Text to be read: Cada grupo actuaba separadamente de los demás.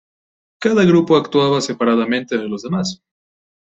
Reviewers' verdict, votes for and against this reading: accepted, 2, 0